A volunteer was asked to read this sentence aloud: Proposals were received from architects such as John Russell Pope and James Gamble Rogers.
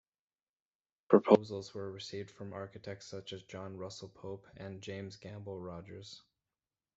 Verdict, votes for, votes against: rejected, 1, 2